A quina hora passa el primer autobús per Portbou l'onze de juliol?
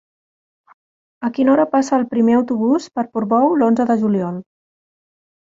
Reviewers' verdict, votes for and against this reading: rejected, 2, 3